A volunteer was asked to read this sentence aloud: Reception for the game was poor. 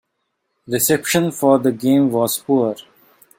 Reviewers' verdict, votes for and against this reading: accepted, 2, 1